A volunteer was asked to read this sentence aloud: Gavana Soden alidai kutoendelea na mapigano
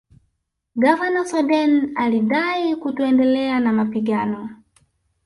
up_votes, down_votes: 5, 0